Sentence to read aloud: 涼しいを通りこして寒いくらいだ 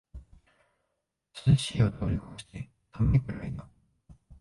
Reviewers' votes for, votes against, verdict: 0, 2, rejected